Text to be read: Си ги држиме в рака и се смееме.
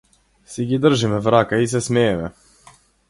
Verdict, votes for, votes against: accepted, 4, 0